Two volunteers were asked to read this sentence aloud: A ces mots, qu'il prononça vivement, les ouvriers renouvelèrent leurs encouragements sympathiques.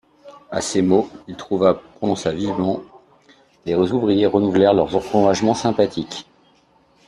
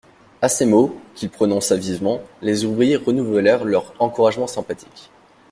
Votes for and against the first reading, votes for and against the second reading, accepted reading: 0, 2, 2, 0, second